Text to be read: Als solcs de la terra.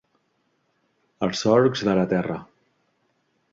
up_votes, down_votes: 3, 0